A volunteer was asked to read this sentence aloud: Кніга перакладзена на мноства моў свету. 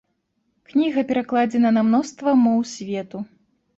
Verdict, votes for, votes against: accepted, 2, 0